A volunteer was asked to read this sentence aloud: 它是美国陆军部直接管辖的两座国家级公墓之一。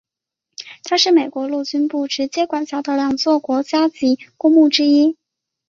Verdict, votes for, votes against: accepted, 4, 0